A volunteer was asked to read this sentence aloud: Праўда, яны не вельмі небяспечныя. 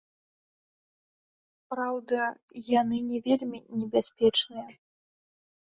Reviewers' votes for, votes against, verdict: 1, 2, rejected